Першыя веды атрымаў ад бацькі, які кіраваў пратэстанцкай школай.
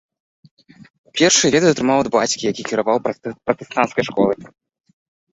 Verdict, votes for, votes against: rejected, 1, 2